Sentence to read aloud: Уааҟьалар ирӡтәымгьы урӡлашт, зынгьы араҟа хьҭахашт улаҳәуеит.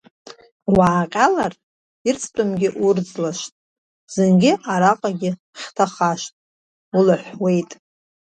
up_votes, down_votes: 2, 1